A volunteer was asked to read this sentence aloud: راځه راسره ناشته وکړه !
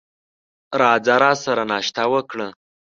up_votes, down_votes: 2, 0